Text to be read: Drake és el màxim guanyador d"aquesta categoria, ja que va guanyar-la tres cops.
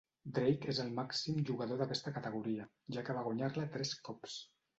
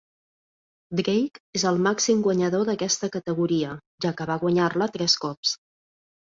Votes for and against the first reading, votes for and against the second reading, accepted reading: 1, 2, 2, 1, second